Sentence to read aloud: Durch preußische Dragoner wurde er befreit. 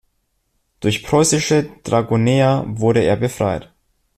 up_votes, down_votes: 2, 0